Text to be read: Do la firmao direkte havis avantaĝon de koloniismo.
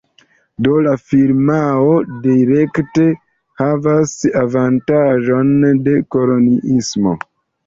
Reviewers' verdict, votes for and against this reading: rejected, 0, 2